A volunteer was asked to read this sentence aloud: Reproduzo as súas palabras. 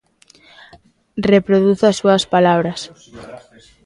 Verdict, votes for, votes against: accepted, 2, 0